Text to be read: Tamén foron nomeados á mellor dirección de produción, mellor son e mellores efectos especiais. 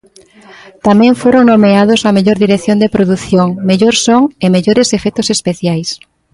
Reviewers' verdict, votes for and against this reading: accepted, 2, 0